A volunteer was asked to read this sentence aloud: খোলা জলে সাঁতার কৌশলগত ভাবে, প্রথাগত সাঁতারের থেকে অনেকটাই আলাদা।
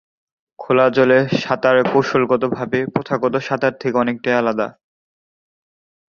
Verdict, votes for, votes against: accepted, 2, 1